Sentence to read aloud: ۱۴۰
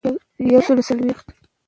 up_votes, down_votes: 0, 2